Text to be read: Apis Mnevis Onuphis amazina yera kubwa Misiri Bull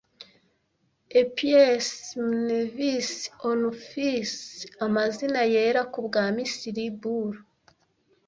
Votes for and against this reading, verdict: 1, 2, rejected